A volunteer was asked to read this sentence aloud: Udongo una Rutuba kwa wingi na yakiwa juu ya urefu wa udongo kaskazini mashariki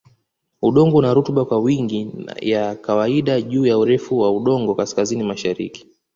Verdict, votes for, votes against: rejected, 1, 2